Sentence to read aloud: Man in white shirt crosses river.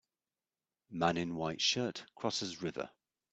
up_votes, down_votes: 2, 1